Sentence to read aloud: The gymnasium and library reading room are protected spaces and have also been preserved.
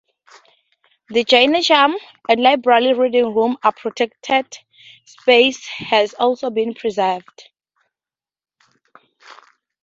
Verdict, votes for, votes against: rejected, 0, 2